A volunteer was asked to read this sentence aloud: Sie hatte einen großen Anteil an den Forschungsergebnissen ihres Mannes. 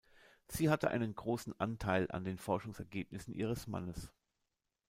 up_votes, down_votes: 3, 0